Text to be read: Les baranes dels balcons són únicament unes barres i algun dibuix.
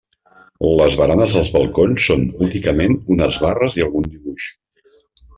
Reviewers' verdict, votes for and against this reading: rejected, 0, 2